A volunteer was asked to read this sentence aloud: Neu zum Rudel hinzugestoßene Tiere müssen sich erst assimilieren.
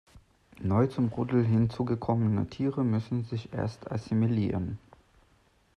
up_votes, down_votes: 0, 2